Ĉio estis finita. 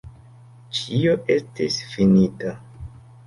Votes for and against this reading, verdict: 3, 1, accepted